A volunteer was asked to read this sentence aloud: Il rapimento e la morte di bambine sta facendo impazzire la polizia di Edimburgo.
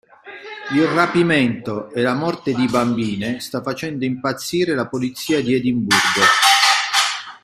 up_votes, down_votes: 1, 2